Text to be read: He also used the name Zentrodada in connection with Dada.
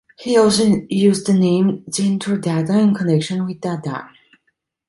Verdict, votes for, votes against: accepted, 2, 0